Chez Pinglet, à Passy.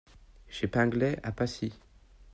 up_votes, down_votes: 2, 0